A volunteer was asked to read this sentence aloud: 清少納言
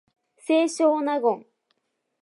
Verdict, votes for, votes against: accepted, 2, 0